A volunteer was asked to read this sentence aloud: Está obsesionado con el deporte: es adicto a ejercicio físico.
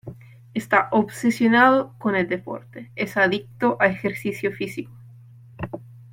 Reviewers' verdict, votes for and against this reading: accepted, 2, 0